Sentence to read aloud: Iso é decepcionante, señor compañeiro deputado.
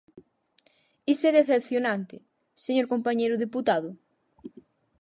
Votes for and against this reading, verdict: 6, 0, accepted